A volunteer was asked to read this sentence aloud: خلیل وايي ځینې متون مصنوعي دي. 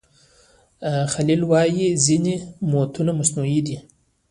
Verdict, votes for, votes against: rejected, 1, 2